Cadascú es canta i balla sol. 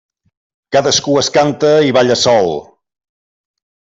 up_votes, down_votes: 3, 0